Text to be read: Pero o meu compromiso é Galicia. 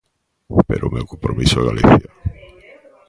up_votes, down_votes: 2, 1